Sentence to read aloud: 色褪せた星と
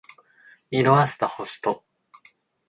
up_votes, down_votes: 3, 0